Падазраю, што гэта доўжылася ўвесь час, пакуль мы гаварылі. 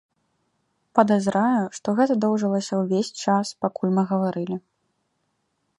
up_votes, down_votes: 0, 2